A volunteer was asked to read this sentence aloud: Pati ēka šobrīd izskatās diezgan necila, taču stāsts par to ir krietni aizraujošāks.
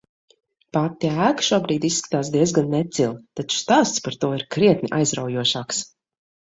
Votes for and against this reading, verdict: 2, 0, accepted